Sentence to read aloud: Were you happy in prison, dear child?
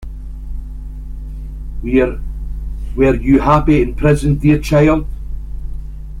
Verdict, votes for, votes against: rejected, 1, 2